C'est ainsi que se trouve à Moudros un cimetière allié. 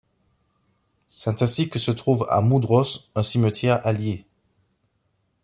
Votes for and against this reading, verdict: 1, 2, rejected